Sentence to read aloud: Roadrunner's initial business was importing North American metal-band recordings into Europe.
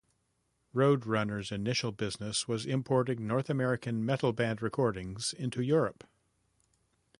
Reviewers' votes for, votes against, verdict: 2, 0, accepted